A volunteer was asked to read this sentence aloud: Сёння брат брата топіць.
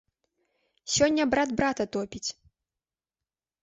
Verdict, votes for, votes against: accepted, 2, 0